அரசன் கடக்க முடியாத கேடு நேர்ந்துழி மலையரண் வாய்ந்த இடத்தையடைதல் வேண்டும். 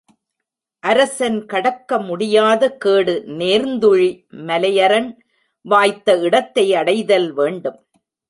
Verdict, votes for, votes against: rejected, 1, 2